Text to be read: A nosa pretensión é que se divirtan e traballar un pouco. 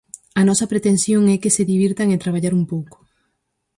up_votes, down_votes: 4, 0